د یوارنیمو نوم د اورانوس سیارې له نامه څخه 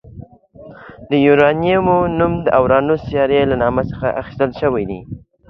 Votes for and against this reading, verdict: 2, 0, accepted